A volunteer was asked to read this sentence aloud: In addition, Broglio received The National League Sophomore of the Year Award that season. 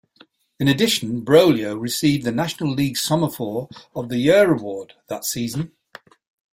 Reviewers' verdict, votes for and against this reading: rejected, 0, 2